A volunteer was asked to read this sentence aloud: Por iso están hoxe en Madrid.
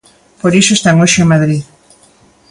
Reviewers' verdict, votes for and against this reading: accepted, 2, 0